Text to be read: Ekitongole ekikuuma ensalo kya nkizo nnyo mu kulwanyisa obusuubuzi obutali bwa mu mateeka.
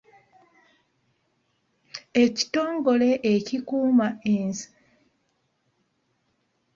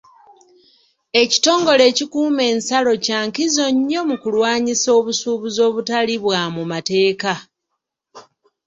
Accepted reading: second